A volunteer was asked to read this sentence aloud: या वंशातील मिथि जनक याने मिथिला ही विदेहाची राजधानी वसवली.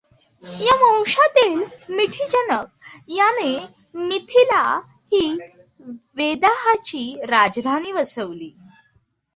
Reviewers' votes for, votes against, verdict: 0, 2, rejected